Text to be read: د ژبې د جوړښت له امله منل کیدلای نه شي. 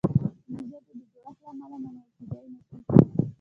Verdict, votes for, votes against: accepted, 2, 0